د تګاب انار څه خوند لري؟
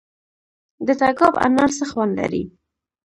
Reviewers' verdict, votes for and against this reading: accepted, 2, 0